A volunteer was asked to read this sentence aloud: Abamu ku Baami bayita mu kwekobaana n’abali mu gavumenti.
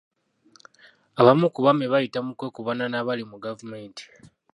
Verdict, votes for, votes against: rejected, 0, 2